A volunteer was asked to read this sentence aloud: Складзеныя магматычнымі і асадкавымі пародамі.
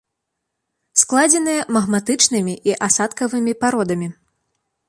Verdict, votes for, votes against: accepted, 2, 0